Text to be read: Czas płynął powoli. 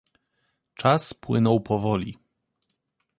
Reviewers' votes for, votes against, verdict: 2, 0, accepted